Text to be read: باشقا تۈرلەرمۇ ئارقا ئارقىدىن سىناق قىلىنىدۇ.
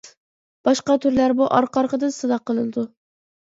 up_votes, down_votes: 2, 0